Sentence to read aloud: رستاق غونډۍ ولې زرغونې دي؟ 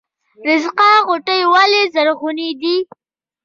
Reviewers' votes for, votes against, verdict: 2, 0, accepted